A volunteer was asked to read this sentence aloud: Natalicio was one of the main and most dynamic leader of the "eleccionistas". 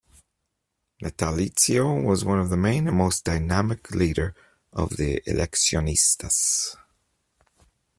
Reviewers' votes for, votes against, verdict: 2, 0, accepted